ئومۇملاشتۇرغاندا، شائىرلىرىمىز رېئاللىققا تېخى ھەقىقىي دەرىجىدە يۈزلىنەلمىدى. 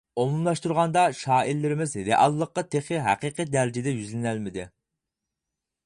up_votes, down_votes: 4, 0